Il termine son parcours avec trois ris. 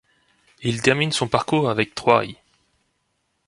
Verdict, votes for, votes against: rejected, 1, 2